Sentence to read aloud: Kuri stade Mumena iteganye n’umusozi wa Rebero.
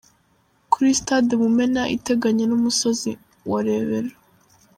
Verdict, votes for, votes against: rejected, 1, 3